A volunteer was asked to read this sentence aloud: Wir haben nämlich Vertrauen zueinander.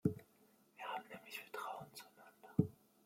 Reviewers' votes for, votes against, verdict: 1, 2, rejected